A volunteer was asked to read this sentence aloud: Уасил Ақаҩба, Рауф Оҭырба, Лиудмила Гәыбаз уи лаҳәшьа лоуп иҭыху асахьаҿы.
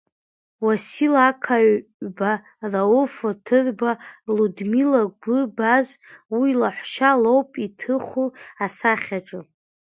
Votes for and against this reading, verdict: 0, 2, rejected